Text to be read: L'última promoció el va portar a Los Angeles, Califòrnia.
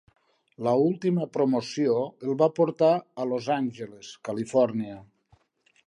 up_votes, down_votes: 0, 2